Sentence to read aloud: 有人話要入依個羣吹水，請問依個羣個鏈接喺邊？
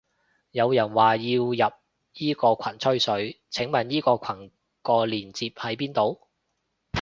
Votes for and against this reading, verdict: 0, 2, rejected